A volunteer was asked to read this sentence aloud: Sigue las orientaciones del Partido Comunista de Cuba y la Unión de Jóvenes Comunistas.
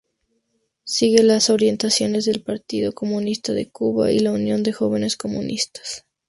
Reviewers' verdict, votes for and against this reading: accepted, 2, 0